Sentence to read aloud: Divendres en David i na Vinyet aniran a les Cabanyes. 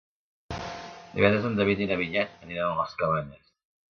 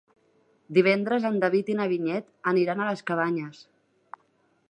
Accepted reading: second